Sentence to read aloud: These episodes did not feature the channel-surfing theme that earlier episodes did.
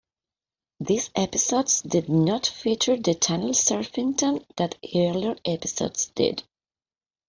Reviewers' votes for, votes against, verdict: 0, 2, rejected